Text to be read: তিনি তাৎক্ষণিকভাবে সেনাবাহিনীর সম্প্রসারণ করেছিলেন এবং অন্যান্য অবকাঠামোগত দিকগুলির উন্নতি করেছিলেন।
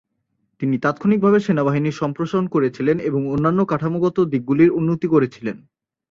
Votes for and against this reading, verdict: 0, 2, rejected